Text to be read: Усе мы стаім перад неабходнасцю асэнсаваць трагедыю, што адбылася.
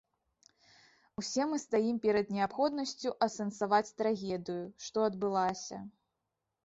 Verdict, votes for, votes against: accepted, 2, 1